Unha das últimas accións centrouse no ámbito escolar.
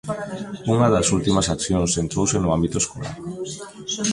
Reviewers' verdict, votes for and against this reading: rejected, 0, 2